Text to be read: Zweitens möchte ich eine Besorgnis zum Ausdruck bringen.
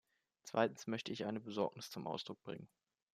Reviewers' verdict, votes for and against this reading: accepted, 2, 0